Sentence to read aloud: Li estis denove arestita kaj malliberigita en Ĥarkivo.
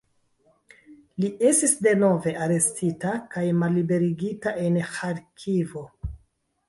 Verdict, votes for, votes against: rejected, 1, 2